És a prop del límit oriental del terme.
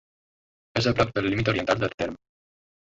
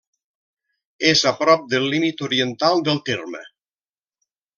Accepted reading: second